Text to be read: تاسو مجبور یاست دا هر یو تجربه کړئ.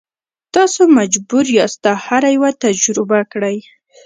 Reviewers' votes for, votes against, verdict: 1, 2, rejected